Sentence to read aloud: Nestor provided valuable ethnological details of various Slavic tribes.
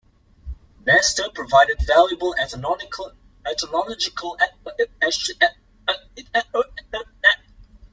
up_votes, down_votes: 0, 2